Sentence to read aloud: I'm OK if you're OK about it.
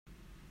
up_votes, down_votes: 0, 3